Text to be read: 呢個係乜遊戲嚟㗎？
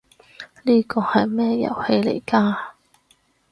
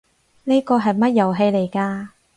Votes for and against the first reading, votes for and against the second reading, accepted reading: 2, 2, 4, 0, second